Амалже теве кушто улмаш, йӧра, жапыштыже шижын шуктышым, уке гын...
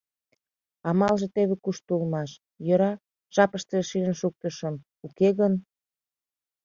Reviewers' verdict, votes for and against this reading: accepted, 2, 0